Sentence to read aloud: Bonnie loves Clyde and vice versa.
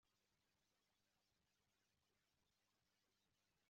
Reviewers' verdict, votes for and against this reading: rejected, 0, 2